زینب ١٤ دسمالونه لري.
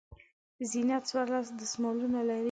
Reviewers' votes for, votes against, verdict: 0, 2, rejected